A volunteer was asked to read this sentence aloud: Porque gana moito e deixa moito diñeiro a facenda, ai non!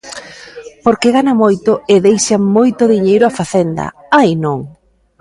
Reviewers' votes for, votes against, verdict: 2, 0, accepted